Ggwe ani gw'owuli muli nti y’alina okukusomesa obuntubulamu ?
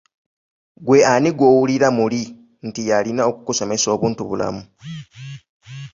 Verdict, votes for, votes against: rejected, 0, 2